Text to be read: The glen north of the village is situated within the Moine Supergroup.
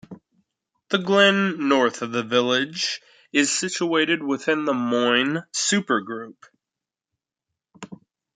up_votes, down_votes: 2, 0